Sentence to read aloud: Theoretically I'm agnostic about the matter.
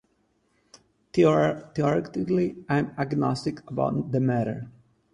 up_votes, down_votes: 2, 4